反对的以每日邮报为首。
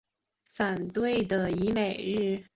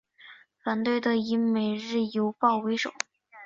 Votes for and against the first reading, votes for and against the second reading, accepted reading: 1, 3, 5, 2, second